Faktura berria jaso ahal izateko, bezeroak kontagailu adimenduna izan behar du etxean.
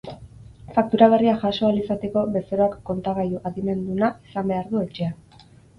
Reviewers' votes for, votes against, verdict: 4, 0, accepted